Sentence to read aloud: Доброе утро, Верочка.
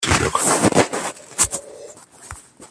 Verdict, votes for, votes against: rejected, 0, 2